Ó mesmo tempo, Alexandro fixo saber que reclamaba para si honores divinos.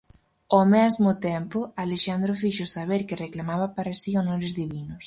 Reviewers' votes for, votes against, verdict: 4, 0, accepted